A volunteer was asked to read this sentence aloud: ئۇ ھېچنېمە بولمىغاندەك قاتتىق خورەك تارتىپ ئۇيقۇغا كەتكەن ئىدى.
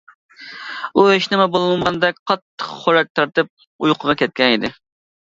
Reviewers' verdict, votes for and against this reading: accepted, 2, 0